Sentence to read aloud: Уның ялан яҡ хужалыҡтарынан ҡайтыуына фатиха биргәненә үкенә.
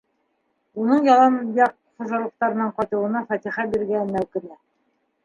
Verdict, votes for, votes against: rejected, 1, 2